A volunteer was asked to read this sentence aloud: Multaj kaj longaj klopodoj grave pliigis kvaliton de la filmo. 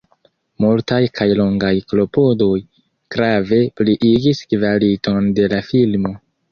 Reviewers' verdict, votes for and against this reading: accepted, 3, 0